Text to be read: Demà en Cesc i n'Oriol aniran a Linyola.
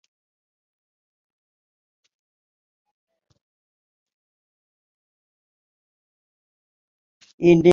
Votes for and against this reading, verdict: 4, 10, rejected